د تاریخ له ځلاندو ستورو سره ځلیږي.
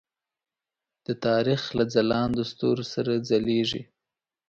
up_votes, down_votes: 2, 0